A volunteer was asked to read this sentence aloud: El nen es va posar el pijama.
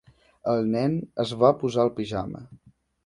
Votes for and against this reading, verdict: 2, 0, accepted